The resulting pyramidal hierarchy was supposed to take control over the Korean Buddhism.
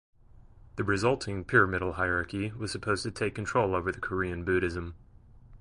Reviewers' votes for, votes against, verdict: 2, 1, accepted